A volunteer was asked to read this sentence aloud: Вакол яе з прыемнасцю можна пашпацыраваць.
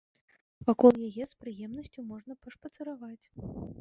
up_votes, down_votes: 1, 2